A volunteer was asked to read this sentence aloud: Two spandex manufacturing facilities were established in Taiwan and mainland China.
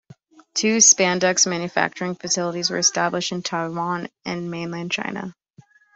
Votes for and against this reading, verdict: 2, 0, accepted